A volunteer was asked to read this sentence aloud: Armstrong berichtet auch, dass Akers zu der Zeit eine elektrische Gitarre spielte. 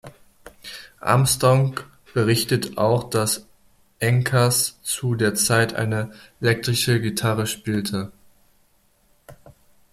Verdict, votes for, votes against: rejected, 1, 2